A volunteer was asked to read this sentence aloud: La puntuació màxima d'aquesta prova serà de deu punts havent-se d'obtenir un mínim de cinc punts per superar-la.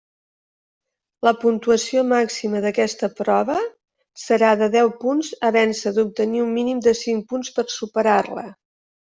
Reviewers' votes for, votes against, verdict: 3, 0, accepted